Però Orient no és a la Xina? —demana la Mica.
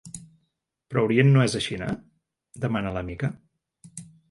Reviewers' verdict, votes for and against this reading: rejected, 1, 2